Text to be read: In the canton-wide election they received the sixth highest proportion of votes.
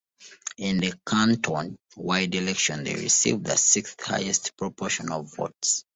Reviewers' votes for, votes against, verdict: 2, 0, accepted